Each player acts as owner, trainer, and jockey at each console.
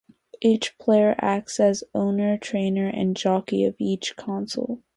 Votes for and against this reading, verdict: 2, 0, accepted